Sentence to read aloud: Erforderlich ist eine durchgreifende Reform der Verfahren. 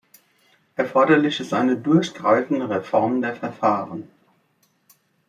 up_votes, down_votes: 3, 1